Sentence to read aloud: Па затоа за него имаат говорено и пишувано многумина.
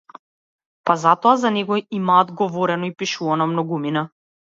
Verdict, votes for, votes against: accepted, 2, 0